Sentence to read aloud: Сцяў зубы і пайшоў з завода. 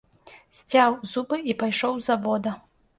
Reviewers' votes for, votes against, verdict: 2, 0, accepted